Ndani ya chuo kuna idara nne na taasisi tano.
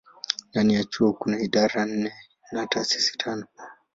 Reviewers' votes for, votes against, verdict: 2, 0, accepted